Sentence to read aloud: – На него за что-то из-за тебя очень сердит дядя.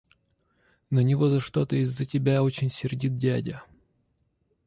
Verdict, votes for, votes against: accepted, 2, 1